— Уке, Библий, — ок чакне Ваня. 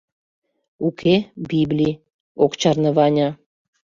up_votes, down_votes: 1, 2